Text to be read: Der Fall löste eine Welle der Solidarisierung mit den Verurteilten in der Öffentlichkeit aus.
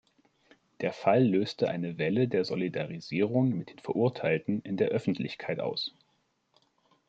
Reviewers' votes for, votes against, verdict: 1, 2, rejected